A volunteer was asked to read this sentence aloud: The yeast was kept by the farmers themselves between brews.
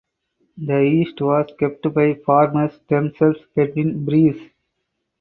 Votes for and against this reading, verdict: 0, 4, rejected